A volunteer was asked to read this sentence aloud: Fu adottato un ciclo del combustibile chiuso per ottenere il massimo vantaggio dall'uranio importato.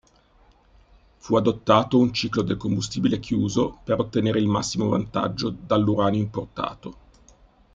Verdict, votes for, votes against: accepted, 2, 0